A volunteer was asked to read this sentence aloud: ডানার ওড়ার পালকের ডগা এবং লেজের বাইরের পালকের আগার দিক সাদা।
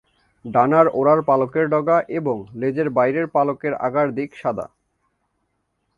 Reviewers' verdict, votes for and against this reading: accepted, 3, 0